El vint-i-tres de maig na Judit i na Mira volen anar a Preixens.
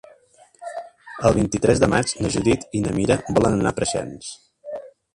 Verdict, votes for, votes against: rejected, 0, 2